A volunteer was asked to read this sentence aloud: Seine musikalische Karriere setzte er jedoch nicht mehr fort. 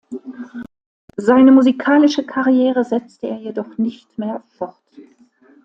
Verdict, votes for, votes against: accepted, 2, 0